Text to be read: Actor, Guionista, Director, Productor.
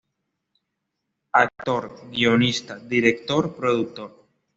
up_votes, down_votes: 2, 0